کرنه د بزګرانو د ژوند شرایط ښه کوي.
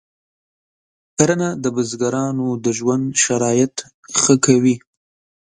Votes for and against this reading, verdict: 2, 0, accepted